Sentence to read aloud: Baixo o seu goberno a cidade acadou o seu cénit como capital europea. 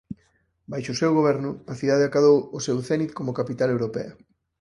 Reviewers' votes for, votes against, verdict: 4, 0, accepted